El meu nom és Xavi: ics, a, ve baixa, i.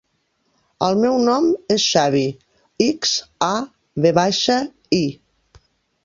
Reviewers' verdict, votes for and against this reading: rejected, 1, 2